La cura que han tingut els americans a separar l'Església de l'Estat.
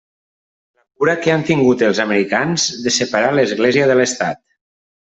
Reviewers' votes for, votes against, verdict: 2, 1, accepted